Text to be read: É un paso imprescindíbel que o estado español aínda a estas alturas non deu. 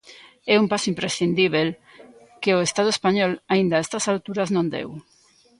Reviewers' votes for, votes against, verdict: 2, 0, accepted